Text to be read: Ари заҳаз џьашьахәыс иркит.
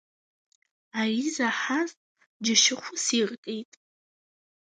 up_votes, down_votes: 2, 0